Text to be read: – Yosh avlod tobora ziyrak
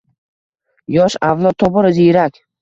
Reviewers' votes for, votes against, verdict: 2, 0, accepted